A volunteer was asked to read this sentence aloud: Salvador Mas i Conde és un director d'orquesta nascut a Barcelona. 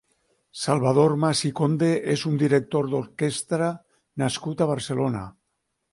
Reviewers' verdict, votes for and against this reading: rejected, 3, 6